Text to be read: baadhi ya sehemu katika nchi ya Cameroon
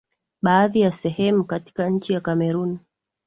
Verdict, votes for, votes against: accepted, 2, 0